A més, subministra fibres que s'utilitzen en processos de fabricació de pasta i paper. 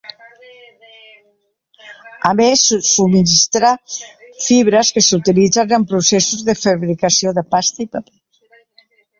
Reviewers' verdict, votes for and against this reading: rejected, 0, 2